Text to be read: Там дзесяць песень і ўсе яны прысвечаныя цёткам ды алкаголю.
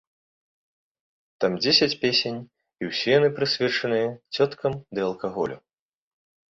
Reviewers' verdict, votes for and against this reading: accepted, 2, 0